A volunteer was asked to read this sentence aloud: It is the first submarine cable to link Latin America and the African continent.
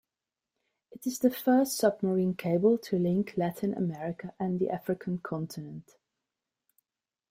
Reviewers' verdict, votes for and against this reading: accepted, 3, 0